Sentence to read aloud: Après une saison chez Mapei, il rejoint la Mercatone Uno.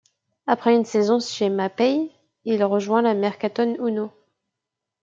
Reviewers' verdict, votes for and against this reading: accepted, 2, 0